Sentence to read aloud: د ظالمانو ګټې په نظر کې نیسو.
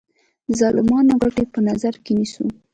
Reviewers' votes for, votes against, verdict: 2, 0, accepted